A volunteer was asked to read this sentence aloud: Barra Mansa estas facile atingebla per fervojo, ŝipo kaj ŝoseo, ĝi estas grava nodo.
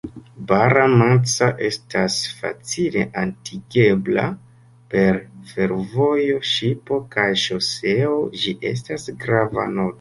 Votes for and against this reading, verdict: 0, 2, rejected